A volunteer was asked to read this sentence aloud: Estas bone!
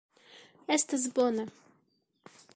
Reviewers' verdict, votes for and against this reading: accepted, 2, 0